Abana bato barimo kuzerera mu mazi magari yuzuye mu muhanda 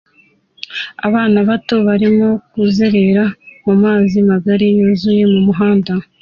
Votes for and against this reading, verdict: 2, 1, accepted